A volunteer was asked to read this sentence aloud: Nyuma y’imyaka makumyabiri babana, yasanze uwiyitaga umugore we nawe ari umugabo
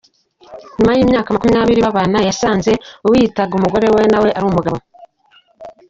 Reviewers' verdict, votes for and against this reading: accepted, 2, 0